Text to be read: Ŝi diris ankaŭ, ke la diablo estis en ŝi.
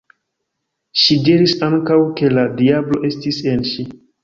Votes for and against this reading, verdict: 2, 1, accepted